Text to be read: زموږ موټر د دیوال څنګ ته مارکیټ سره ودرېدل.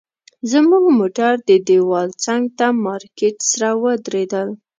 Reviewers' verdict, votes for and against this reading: rejected, 1, 2